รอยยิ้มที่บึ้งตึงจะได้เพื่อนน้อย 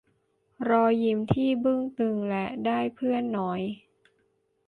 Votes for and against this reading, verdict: 1, 2, rejected